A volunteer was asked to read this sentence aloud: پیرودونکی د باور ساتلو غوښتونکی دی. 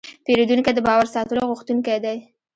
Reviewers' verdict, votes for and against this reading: rejected, 0, 2